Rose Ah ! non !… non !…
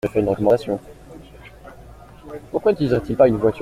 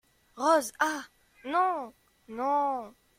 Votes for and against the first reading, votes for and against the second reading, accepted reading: 0, 2, 2, 0, second